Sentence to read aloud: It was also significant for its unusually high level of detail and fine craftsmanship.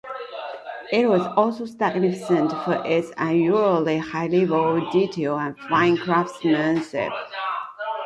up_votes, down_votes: 0, 2